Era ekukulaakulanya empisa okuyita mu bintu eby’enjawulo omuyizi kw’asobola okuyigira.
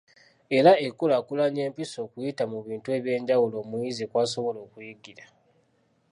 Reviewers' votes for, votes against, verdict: 2, 0, accepted